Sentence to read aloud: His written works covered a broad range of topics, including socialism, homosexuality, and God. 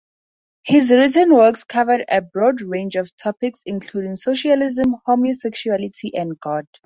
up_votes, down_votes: 2, 0